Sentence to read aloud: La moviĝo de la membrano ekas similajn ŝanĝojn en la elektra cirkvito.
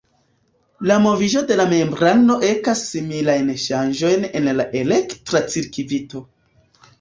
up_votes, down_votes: 0, 2